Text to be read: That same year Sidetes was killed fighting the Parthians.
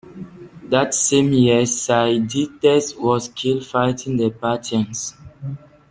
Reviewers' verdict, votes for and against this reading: accepted, 2, 1